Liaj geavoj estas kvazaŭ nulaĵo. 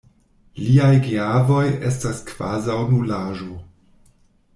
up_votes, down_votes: 2, 0